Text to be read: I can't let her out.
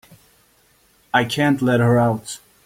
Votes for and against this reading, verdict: 2, 0, accepted